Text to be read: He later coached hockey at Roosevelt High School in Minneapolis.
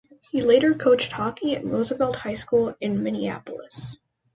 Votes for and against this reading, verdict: 1, 2, rejected